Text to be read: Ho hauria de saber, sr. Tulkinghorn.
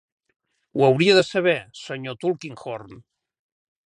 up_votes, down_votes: 3, 0